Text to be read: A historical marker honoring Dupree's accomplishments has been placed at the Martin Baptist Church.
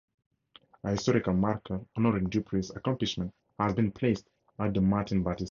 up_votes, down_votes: 0, 2